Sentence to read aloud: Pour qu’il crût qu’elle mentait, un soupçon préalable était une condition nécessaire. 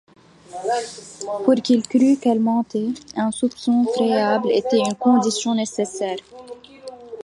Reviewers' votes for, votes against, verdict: 2, 0, accepted